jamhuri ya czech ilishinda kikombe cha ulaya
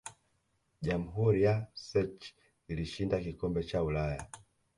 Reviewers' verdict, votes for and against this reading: rejected, 1, 2